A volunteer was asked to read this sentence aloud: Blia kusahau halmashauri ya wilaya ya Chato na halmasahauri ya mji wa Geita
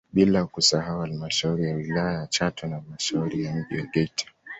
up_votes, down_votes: 2, 0